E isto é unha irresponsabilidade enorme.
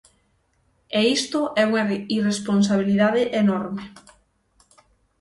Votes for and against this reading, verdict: 0, 6, rejected